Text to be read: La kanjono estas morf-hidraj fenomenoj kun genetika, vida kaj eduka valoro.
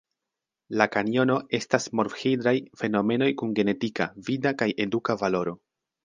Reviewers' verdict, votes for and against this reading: accepted, 3, 1